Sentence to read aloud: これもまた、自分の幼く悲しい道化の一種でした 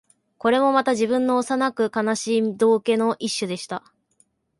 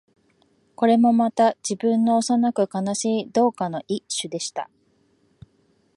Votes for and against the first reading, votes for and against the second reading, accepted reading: 5, 0, 0, 2, first